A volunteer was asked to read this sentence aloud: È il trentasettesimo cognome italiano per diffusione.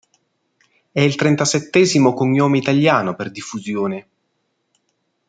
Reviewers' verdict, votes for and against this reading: accepted, 2, 0